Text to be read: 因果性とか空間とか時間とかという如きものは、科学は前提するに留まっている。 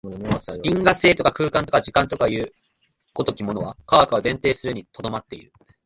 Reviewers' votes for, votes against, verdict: 2, 0, accepted